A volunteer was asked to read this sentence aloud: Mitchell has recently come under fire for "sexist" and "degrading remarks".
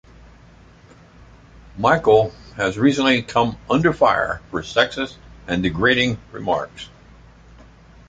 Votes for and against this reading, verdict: 1, 2, rejected